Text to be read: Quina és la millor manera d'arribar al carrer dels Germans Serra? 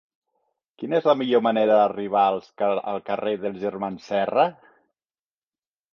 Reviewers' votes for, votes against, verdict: 0, 2, rejected